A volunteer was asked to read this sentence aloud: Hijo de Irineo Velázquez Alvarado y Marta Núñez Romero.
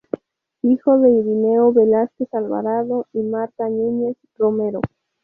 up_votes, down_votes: 2, 0